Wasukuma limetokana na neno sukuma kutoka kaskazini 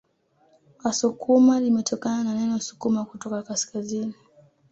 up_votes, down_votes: 2, 0